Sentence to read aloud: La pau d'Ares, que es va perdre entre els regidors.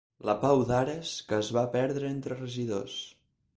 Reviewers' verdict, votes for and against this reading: rejected, 0, 4